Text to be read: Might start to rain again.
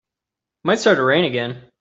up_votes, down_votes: 3, 0